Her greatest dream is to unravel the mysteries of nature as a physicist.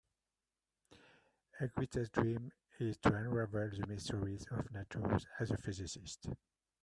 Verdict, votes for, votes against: accepted, 2, 1